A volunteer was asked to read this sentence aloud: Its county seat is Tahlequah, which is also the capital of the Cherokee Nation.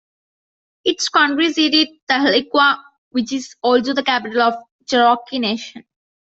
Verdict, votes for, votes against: rejected, 0, 2